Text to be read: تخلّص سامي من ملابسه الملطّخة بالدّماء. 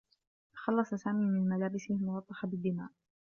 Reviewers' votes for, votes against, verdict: 2, 0, accepted